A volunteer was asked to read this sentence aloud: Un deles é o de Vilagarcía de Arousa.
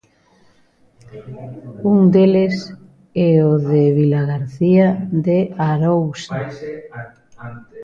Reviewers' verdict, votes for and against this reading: rejected, 1, 3